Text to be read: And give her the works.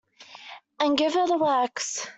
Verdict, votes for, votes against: accepted, 2, 0